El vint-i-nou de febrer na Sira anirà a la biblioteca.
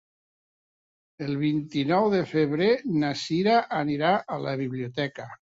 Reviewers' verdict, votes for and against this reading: accepted, 2, 0